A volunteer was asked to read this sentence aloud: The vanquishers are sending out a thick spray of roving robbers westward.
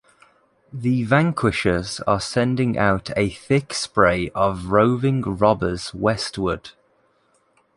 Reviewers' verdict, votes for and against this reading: accepted, 2, 0